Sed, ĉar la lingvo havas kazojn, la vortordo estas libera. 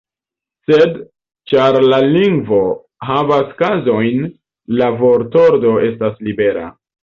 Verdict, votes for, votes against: rejected, 1, 2